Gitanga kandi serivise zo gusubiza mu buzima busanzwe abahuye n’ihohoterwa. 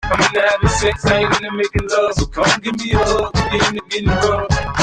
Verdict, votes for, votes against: rejected, 0, 2